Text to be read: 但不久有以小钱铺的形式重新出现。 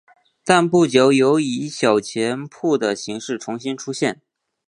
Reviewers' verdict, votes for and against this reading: accepted, 3, 0